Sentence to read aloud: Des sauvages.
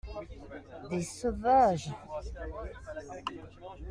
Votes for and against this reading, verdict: 1, 2, rejected